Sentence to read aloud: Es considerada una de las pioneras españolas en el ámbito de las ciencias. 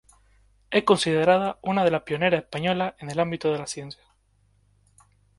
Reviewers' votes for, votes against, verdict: 2, 2, rejected